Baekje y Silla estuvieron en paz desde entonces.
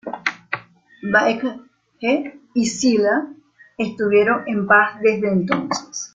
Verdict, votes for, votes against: rejected, 0, 2